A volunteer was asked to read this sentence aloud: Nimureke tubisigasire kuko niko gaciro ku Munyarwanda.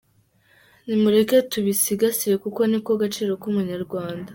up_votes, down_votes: 3, 0